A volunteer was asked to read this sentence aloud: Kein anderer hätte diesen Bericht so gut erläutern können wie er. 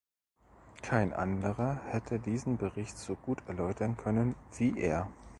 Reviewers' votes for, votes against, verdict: 2, 0, accepted